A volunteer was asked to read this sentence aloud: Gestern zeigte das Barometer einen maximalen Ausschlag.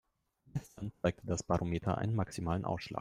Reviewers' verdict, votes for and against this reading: rejected, 0, 2